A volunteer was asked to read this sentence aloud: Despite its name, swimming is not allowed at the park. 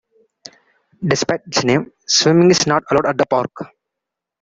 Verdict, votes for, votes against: rejected, 1, 2